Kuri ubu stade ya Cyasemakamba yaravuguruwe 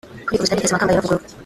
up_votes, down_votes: 0, 2